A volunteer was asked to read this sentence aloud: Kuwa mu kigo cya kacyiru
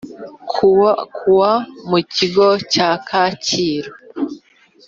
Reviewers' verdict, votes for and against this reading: rejected, 2, 3